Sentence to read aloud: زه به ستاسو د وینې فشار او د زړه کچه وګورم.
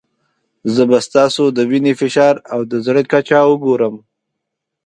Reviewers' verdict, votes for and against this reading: accepted, 3, 0